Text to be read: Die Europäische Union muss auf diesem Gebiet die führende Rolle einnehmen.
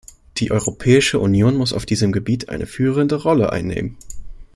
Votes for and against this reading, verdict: 1, 2, rejected